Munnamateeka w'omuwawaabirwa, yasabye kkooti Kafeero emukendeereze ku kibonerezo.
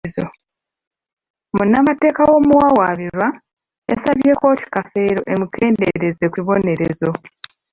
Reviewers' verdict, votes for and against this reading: rejected, 0, 2